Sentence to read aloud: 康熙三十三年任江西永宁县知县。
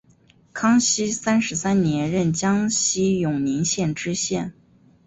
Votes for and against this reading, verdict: 4, 0, accepted